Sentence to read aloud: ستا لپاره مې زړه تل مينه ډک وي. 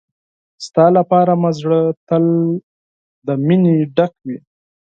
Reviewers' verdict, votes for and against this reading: rejected, 0, 4